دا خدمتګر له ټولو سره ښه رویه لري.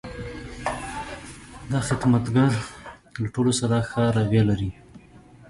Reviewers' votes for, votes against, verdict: 0, 2, rejected